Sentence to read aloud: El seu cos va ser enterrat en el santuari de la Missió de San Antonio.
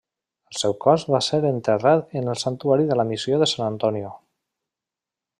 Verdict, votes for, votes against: rejected, 1, 2